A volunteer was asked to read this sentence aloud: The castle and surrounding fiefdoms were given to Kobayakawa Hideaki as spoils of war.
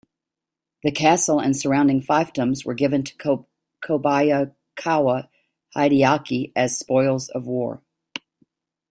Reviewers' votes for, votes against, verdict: 0, 2, rejected